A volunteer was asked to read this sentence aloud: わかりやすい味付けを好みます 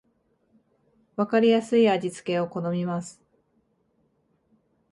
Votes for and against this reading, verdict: 2, 0, accepted